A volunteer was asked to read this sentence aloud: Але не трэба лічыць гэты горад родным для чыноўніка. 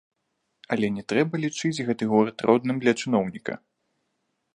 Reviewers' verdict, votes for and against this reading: rejected, 1, 2